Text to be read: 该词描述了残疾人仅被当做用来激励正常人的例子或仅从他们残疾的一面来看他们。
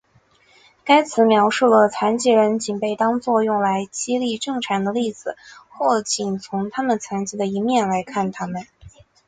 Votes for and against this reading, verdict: 6, 0, accepted